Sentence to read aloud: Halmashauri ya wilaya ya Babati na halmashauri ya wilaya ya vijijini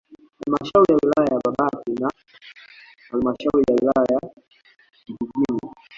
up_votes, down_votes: 1, 2